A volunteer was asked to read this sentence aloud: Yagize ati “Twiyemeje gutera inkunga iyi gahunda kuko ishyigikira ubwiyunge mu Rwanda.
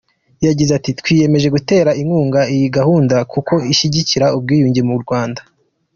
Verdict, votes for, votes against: accepted, 2, 0